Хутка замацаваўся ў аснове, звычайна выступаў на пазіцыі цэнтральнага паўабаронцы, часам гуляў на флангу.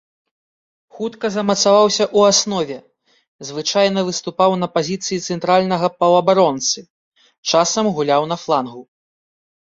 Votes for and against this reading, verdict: 2, 0, accepted